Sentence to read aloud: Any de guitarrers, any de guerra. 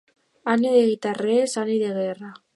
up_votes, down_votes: 0, 2